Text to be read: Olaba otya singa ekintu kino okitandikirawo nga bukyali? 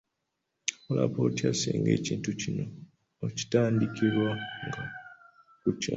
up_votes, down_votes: 1, 2